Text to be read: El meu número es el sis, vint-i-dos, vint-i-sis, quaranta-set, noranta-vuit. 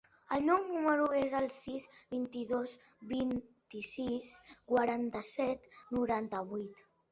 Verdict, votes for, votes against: accepted, 3, 0